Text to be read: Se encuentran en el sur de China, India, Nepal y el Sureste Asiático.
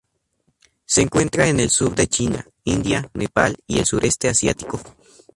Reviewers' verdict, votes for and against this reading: rejected, 0, 2